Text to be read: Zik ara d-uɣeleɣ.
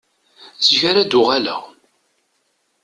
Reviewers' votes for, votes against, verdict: 2, 0, accepted